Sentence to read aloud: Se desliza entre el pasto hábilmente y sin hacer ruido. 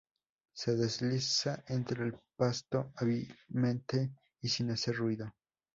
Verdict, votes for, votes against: accepted, 2, 0